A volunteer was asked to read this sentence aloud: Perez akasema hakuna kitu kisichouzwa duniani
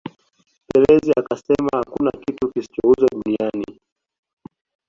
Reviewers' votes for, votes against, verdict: 2, 0, accepted